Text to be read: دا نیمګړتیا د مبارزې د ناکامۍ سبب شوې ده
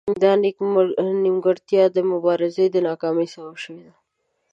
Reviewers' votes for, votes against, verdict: 1, 2, rejected